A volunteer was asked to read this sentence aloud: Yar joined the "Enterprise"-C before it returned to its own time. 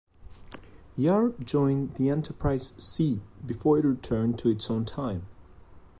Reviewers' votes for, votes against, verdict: 2, 0, accepted